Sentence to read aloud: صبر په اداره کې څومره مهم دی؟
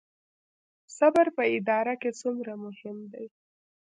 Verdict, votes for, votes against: accepted, 2, 0